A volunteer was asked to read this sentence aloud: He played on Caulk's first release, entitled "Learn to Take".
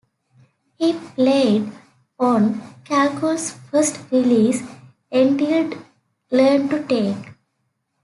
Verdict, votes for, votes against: rejected, 0, 2